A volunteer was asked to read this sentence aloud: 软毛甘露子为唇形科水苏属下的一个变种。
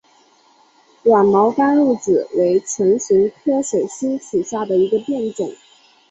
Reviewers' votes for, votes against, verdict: 2, 1, accepted